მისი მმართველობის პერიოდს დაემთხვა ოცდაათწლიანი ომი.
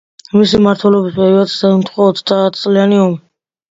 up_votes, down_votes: 2, 0